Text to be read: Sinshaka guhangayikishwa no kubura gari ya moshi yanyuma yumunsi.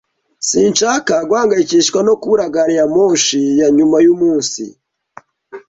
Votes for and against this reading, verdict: 2, 0, accepted